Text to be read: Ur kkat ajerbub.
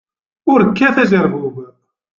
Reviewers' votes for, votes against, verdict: 2, 1, accepted